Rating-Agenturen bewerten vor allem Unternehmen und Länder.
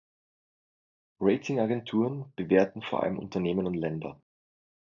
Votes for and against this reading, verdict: 2, 0, accepted